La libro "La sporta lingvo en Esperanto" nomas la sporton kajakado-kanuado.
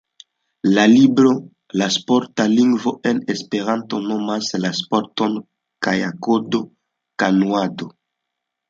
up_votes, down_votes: 2, 0